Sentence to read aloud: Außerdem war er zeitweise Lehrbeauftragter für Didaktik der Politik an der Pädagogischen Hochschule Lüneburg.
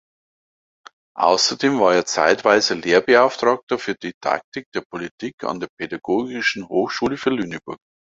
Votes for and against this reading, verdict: 0, 2, rejected